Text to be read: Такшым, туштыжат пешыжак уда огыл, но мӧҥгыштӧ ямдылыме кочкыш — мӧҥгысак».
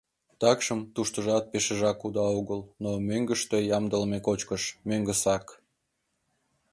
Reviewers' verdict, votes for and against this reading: accepted, 2, 0